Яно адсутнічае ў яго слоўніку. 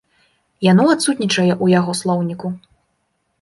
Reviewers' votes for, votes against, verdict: 2, 0, accepted